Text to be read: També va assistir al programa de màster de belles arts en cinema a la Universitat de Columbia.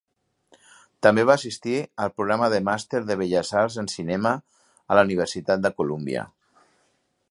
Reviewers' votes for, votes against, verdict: 3, 0, accepted